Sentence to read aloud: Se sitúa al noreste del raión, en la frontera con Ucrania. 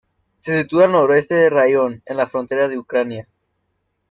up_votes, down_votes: 0, 2